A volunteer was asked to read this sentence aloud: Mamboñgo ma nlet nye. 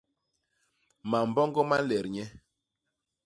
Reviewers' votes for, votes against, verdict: 2, 0, accepted